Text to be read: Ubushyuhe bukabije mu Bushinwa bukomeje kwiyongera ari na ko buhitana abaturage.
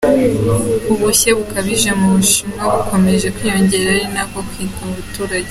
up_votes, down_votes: 2, 0